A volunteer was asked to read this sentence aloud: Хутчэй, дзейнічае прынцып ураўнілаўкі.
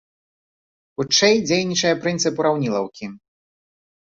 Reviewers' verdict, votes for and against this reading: accepted, 3, 0